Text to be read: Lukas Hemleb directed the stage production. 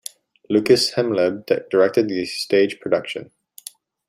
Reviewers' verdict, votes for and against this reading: accepted, 2, 1